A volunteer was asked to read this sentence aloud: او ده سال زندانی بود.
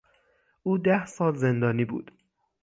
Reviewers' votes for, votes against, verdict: 6, 0, accepted